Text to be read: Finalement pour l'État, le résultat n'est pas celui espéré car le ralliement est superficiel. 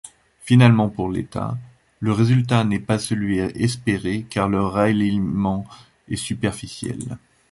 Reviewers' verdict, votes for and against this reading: rejected, 0, 2